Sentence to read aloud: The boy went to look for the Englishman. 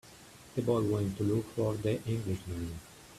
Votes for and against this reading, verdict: 9, 2, accepted